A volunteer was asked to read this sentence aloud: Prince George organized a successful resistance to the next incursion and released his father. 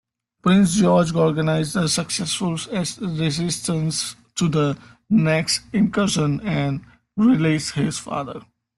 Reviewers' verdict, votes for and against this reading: rejected, 0, 2